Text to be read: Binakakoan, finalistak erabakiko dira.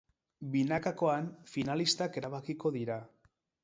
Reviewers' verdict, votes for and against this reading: accepted, 2, 0